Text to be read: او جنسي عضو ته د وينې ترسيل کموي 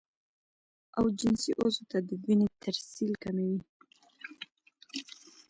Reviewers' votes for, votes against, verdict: 2, 1, accepted